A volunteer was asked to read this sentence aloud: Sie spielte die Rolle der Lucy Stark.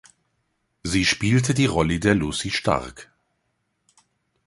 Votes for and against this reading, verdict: 1, 2, rejected